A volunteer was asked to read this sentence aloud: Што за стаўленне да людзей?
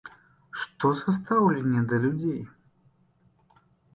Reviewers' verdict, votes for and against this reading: accepted, 2, 0